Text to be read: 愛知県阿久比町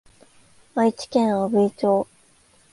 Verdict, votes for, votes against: accepted, 2, 0